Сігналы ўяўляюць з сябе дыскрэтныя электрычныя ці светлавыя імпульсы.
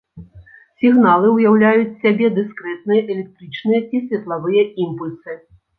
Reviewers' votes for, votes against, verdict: 2, 0, accepted